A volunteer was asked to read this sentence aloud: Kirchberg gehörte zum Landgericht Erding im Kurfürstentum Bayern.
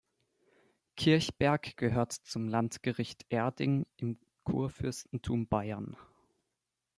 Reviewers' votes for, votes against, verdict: 2, 0, accepted